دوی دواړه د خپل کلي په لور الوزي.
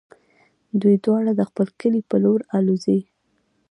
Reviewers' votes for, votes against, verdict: 1, 2, rejected